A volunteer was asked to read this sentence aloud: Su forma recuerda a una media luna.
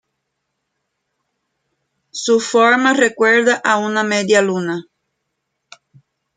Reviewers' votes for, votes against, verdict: 2, 0, accepted